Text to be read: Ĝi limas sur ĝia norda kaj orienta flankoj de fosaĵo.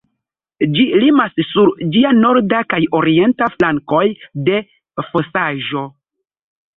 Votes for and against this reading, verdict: 2, 0, accepted